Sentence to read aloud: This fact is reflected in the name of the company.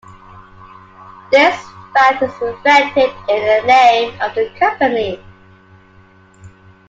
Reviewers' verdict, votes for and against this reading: accepted, 2, 1